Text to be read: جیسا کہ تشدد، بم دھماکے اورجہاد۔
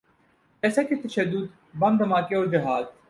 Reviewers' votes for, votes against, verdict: 2, 2, rejected